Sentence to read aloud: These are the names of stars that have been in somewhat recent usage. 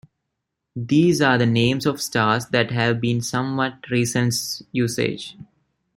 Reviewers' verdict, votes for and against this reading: rejected, 0, 2